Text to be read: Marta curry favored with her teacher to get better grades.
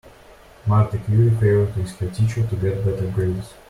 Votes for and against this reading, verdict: 1, 2, rejected